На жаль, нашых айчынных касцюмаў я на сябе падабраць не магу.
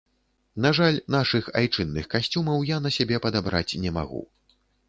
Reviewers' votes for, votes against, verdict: 2, 0, accepted